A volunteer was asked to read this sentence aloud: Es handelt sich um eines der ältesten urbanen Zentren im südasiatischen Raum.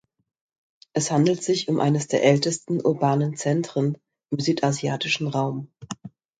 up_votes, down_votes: 2, 0